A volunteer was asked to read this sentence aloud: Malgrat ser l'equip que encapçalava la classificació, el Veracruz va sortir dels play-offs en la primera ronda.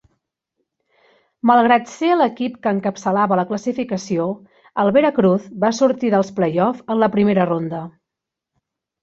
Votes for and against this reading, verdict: 2, 0, accepted